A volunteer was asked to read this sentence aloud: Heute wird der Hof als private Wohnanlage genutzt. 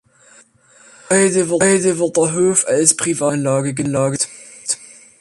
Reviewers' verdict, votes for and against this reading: rejected, 0, 2